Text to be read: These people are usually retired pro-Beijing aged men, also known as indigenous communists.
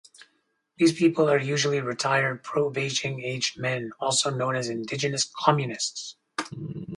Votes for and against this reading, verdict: 4, 0, accepted